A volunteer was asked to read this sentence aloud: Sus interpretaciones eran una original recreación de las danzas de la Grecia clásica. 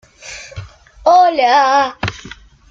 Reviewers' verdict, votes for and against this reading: rejected, 0, 2